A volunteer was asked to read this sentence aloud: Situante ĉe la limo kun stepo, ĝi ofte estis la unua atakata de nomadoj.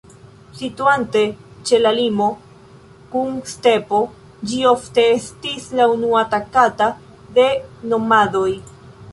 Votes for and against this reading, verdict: 0, 2, rejected